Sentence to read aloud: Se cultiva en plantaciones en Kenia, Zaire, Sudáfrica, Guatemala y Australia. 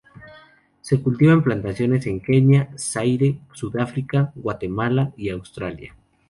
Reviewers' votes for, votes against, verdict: 2, 0, accepted